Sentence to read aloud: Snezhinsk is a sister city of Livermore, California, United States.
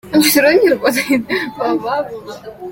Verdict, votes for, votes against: rejected, 0, 2